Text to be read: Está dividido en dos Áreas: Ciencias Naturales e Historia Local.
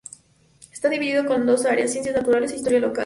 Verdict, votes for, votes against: rejected, 0, 2